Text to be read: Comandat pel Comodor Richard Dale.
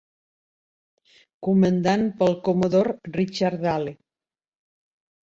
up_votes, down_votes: 0, 2